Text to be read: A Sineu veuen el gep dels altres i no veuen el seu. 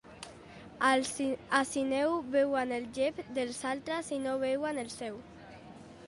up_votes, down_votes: 0, 2